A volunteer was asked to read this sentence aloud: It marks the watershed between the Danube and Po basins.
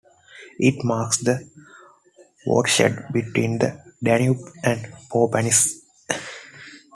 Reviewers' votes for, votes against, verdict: 0, 2, rejected